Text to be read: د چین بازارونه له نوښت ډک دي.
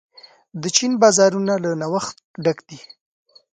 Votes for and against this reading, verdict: 2, 0, accepted